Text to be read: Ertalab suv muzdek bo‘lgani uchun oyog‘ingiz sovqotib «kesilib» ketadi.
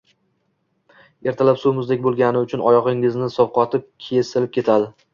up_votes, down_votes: 2, 0